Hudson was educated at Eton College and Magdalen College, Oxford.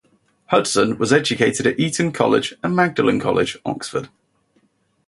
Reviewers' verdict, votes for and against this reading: accepted, 2, 0